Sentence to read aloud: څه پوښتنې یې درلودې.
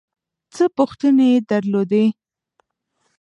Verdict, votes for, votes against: rejected, 1, 2